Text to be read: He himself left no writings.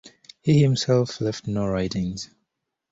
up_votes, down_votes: 2, 0